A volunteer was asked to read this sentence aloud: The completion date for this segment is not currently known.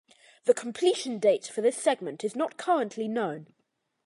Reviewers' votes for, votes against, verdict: 2, 0, accepted